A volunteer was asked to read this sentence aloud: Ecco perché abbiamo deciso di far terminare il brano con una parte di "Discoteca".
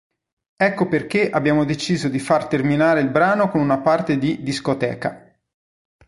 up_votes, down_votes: 2, 0